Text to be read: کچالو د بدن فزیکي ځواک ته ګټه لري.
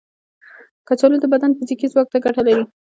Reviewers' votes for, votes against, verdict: 2, 3, rejected